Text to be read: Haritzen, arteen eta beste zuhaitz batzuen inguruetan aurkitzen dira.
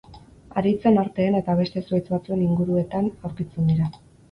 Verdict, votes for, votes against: accepted, 4, 0